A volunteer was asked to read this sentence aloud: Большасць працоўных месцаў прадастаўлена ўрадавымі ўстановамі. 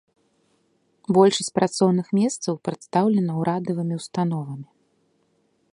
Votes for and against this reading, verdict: 2, 0, accepted